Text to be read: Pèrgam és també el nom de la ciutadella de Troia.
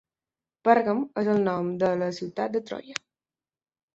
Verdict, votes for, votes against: rejected, 1, 2